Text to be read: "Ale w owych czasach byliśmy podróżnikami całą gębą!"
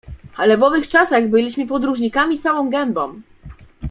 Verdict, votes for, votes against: accepted, 2, 0